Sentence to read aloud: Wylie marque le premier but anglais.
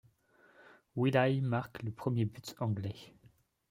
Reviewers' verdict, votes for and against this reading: rejected, 0, 2